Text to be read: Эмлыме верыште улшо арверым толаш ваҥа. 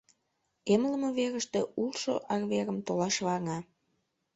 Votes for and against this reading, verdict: 1, 2, rejected